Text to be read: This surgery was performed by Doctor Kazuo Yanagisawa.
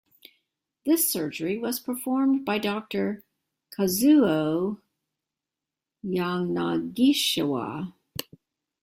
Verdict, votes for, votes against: rejected, 1, 2